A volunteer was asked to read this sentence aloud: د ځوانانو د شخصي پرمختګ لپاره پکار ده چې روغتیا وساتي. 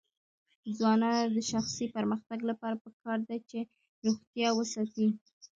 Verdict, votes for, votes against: rejected, 1, 2